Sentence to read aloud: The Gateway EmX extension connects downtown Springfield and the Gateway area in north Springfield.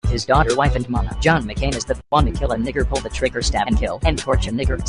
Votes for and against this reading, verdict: 0, 2, rejected